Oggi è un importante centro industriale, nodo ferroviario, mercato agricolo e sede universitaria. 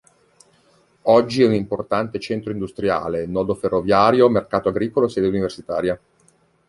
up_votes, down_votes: 0, 2